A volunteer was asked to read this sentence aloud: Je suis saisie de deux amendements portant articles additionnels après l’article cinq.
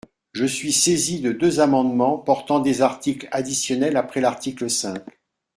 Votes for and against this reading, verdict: 1, 2, rejected